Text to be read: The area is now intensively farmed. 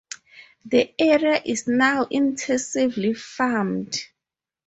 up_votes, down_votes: 0, 2